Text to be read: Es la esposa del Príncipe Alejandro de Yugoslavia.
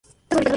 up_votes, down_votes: 0, 2